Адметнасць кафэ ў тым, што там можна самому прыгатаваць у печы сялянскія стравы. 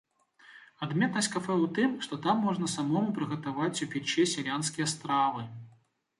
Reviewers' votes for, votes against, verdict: 2, 1, accepted